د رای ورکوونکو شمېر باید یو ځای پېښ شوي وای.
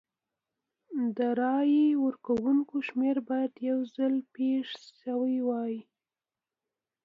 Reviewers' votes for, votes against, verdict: 0, 2, rejected